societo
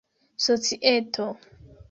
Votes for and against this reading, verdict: 2, 0, accepted